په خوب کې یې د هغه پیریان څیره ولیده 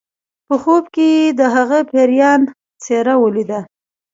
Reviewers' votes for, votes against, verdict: 1, 2, rejected